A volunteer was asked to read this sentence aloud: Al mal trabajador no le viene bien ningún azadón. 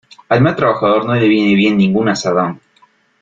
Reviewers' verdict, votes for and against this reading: accepted, 2, 0